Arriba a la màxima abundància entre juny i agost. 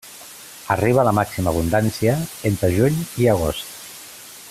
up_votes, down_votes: 2, 0